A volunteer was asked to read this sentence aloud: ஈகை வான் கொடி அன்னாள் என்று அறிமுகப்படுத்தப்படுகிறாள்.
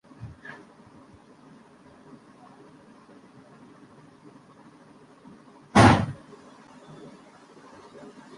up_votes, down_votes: 0, 2